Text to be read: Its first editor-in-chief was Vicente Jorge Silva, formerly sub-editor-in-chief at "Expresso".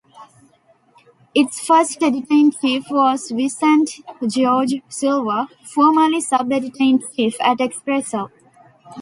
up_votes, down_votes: 0, 2